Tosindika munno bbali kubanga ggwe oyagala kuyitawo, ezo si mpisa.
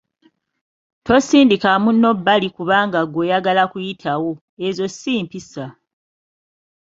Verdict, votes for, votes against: accepted, 2, 0